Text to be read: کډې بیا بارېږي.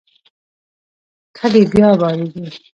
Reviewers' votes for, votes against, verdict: 2, 0, accepted